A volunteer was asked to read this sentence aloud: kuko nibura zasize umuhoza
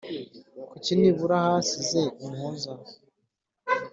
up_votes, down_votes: 1, 2